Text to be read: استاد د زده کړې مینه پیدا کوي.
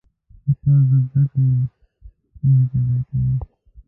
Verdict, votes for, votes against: rejected, 0, 2